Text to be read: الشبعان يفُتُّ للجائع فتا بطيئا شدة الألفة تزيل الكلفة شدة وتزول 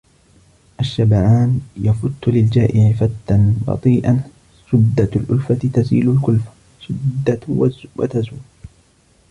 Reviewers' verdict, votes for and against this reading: rejected, 0, 2